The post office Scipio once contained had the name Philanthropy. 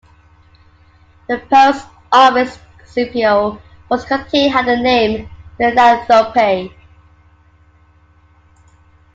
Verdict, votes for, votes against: rejected, 0, 2